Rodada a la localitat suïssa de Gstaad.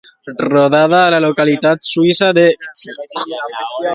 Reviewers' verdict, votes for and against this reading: rejected, 0, 2